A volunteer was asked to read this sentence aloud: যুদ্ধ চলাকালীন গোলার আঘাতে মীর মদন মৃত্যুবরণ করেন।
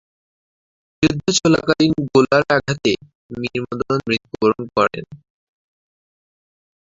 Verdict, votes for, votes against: rejected, 2, 5